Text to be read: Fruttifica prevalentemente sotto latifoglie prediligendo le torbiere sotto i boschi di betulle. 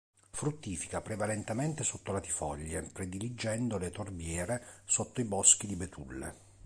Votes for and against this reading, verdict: 2, 0, accepted